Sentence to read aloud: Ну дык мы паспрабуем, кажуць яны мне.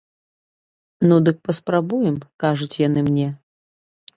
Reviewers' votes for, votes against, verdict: 2, 1, accepted